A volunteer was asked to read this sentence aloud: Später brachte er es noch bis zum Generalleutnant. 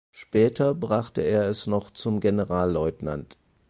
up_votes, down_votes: 2, 4